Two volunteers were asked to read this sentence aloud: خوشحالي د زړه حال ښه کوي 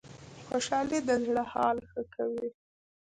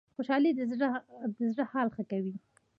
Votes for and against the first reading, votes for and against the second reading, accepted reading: 2, 1, 1, 2, first